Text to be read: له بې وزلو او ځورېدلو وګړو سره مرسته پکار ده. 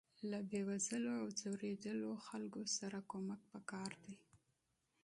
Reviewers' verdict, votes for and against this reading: accepted, 2, 0